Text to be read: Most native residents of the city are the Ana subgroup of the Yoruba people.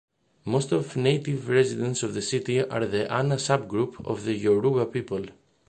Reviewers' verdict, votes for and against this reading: rejected, 0, 2